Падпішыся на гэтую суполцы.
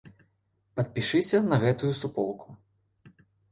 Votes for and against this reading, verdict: 0, 2, rejected